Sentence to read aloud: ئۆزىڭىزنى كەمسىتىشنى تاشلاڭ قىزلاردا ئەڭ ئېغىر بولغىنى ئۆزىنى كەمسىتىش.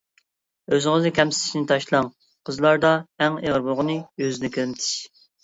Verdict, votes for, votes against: rejected, 0, 2